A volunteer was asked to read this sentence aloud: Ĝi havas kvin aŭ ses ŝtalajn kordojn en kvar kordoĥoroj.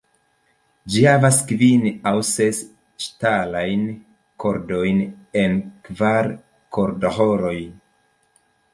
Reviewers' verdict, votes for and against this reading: accepted, 2, 0